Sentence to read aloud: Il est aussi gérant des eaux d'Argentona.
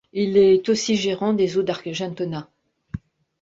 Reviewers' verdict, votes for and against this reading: rejected, 1, 2